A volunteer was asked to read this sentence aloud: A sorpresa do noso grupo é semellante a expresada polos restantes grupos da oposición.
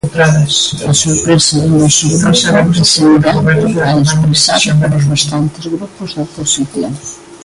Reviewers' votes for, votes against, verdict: 0, 2, rejected